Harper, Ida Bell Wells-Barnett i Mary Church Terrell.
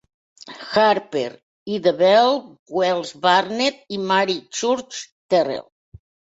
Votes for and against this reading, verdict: 1, 2, rejected